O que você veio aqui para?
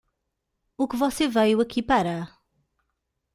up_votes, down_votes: 2, 0